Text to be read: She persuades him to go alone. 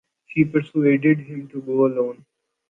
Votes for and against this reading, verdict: 1, 2, rejected